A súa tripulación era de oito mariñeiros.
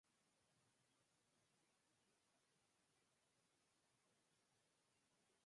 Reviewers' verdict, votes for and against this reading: rejected, 0, 2